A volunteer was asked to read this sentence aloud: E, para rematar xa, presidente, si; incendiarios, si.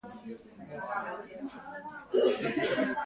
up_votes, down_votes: 0, 2